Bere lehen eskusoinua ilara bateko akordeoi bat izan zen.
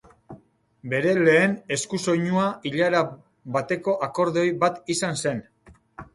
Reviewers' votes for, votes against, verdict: 3, 0, accepted